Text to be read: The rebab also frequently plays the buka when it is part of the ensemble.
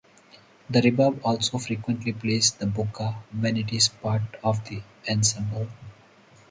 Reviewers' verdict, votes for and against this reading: accepted, 4, 0